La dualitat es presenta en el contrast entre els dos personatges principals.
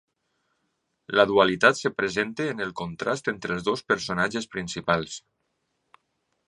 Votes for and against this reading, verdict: 1, 3, rejected